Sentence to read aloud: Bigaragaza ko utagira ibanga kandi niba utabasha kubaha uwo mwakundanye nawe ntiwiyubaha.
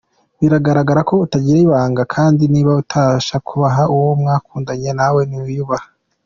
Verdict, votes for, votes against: accepted, 2, 1